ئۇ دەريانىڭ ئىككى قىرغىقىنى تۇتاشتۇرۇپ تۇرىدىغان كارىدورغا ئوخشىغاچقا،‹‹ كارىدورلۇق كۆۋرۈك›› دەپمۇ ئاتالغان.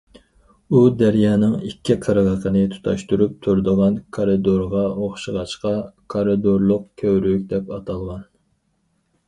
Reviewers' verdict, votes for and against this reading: rejected, 2, 4